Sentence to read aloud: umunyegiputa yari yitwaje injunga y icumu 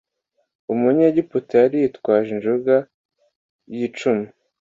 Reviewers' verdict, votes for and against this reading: accepted, 2, 0